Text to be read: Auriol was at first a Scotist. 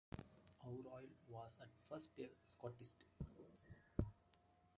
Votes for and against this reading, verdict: 0, 2, rejected